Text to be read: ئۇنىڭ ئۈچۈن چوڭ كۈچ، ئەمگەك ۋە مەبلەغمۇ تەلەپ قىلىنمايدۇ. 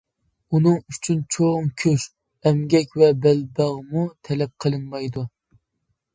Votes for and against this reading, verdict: 0, 2, rejected